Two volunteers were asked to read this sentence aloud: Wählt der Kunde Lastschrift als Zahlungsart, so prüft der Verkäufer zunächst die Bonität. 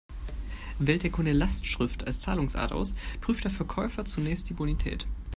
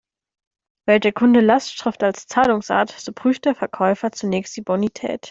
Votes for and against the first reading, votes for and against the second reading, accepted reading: 1, 2, 2, 0, second